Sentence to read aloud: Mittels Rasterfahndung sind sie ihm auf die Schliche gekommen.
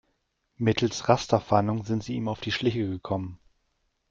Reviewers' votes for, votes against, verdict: 2, 0, accepted